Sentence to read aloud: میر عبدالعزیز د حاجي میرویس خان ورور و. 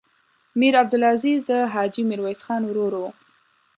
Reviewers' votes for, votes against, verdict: 1, 2, rejected